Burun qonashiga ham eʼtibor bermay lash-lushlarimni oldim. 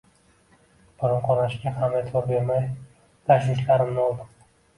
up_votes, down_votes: 2, 0